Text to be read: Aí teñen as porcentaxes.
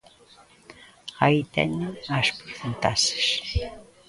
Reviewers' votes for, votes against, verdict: 1, 2, rejected